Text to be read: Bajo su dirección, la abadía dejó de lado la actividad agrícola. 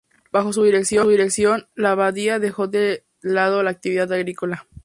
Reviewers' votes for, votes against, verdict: 0, 2, rejected